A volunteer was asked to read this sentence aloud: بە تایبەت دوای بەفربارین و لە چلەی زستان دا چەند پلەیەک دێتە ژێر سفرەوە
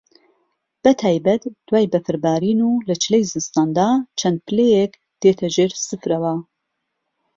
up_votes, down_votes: 2, 0